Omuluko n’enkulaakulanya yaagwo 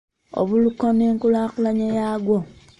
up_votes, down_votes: 0, 2